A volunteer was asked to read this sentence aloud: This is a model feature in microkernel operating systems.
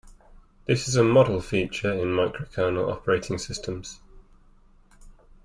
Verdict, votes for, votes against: accepted, 2, 0